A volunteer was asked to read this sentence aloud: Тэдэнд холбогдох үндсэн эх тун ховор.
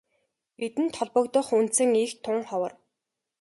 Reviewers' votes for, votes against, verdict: 2, 0, accepted